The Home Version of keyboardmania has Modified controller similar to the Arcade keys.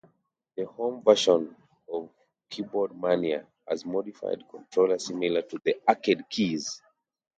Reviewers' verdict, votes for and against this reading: accepted, 3, 0